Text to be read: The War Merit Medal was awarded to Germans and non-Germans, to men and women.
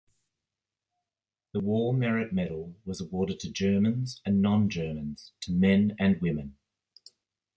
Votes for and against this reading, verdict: 2, 0, accepted